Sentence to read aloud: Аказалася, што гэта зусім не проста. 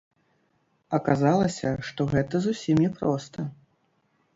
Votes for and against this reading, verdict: 1, 2, rejected